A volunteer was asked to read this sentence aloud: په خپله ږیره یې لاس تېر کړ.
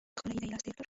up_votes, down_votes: 0, 2